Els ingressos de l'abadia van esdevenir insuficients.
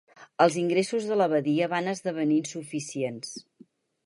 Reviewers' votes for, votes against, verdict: 4, 0, accepted